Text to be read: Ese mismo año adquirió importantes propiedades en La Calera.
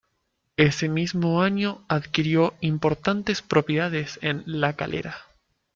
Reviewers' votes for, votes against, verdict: 3, 2, accepted